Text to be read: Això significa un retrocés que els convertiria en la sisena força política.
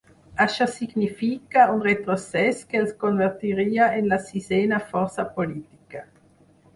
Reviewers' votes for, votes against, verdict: 4, 0, accepted